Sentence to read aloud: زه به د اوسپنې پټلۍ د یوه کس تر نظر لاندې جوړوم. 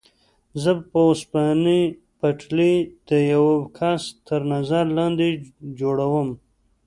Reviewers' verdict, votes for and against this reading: rejected, 1, 2